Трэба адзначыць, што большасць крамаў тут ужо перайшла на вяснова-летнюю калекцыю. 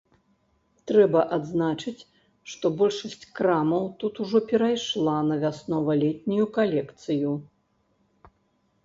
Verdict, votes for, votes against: accepted, 2, 0